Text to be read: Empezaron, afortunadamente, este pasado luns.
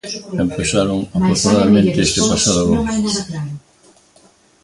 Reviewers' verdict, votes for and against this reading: rejected, 0, 2